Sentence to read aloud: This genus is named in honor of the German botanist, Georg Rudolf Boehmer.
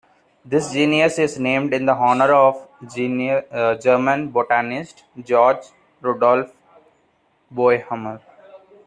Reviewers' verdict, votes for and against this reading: rejected, 0, 2